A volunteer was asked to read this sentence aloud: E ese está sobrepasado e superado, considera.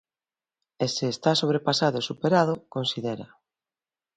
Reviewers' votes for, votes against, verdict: 1, 2, rejected